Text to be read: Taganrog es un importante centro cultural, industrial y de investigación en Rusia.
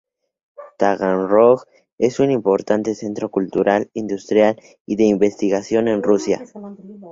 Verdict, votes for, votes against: accepted, 2, 0